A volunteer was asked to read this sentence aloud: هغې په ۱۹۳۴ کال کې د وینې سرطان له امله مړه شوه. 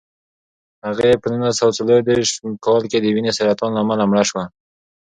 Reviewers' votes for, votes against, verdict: 0, 2, rejected